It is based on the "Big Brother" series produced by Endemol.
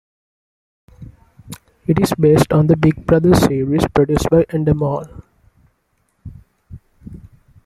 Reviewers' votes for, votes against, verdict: 2, 1, accepted